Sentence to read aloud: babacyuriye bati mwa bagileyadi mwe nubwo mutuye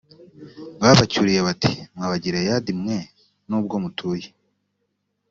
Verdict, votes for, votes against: accepted, 2, 0